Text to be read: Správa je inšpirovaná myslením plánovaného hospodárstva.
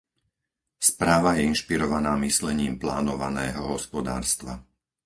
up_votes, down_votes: 4, 0